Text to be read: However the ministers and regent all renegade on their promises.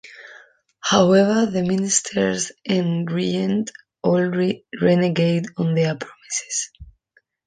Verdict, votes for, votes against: accepted, 2, 0